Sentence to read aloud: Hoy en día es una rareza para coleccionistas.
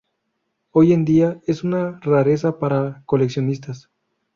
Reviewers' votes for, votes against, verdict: 2, 0, accepted